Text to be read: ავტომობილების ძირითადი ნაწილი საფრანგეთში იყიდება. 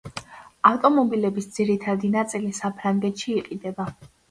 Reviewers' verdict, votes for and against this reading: accepted, 2, 0